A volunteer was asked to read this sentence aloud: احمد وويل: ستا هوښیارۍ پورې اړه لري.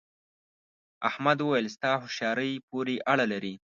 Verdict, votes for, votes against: accepted, 2, 0